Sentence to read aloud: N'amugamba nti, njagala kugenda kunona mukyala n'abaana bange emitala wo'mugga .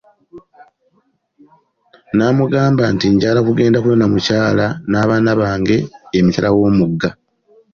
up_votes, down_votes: 2, 0